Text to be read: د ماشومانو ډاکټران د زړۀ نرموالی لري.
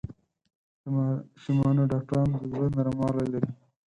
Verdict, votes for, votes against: accepted, 6, 2